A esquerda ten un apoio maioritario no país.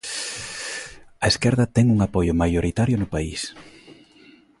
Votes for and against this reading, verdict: 2, 0, accepted